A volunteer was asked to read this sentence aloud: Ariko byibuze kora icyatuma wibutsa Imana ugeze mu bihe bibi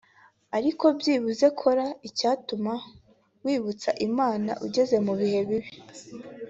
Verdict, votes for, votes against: accepted, 2, 1